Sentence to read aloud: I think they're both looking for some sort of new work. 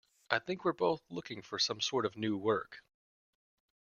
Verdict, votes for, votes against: rejected, 0, 2